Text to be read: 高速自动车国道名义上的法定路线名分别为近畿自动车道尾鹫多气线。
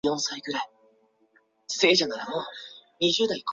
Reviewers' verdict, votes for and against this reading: rejected, 0, 5